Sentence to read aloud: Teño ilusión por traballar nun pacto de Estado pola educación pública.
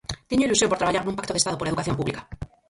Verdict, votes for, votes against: rejected, 2, 4